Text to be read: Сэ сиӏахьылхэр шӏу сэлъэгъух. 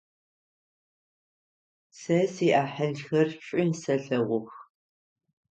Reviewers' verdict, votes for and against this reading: rejected, 3, 6